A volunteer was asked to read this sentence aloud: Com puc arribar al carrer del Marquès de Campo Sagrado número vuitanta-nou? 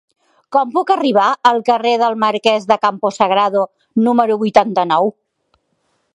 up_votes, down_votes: 3, 0